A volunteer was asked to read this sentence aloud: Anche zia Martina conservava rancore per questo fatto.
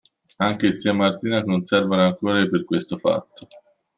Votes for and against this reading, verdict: 2, 1, accepted